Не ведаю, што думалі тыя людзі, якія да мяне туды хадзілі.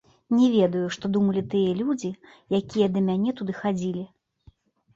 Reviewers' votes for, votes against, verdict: 0, 2, rejected